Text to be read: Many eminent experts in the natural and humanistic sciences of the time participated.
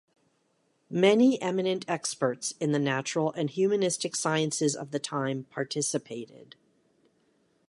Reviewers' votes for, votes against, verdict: 2, 0, accepted